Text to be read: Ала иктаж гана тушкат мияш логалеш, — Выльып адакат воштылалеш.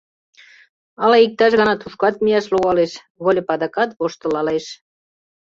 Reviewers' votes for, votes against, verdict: 2, 0, accepted